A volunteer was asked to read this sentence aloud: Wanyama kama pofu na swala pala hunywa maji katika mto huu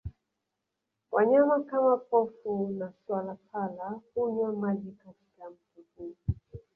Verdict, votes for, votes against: rejected, 1, 2